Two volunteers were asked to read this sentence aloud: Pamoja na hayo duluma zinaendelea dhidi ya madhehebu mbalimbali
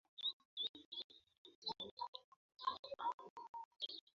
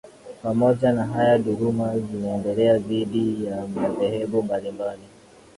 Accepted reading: second